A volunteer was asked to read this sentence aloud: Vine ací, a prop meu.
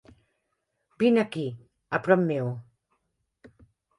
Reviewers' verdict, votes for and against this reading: rejected, 0, 2